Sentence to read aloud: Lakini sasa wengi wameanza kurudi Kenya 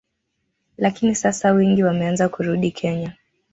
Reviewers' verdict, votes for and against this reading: rejected, 0, 2